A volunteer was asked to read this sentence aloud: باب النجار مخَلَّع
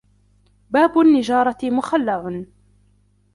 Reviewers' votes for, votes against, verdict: 1, 2, rejected